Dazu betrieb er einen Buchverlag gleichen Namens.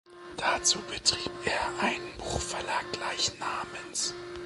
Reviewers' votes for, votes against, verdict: 2, 1, accepted